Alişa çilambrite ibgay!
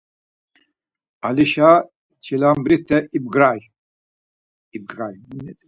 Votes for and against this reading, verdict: 0, 4, rejected